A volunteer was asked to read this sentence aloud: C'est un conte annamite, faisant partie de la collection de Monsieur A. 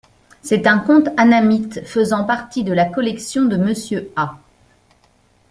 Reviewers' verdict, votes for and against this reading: accepted, 2, 0